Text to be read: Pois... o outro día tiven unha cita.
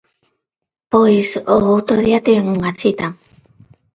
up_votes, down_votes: 2, 0